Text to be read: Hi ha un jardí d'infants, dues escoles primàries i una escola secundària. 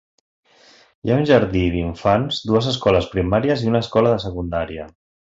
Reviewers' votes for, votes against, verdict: 0, 2, rejected